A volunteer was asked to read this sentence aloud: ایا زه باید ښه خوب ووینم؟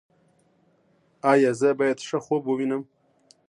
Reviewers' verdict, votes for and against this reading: rejected, 0, 2